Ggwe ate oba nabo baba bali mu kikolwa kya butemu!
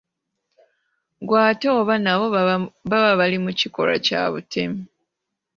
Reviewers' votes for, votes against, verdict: 2, 1, accepted